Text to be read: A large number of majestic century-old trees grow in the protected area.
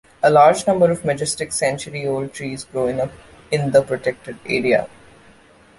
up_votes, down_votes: 2, 1